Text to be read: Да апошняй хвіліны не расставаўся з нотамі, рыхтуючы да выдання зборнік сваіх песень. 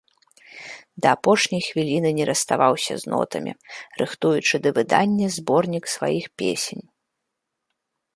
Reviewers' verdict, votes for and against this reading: accepted, 2, 0